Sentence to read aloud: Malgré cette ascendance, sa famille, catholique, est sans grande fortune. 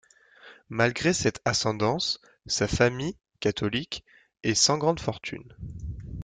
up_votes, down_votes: 2, 0